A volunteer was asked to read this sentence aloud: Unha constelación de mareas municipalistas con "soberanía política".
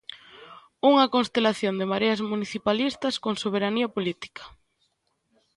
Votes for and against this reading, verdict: 2, 0, accepted